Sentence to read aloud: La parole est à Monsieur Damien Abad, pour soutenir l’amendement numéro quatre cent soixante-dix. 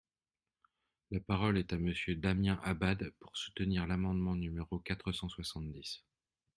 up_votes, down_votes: 2, 0